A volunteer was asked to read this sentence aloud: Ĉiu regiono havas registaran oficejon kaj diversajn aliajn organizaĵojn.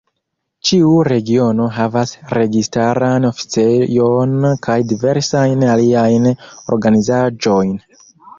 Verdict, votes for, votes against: rejected, 0, 2